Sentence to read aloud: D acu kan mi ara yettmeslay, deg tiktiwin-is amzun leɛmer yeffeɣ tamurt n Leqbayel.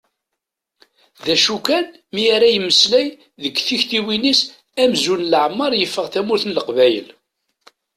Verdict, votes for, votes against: accepted, 2, 0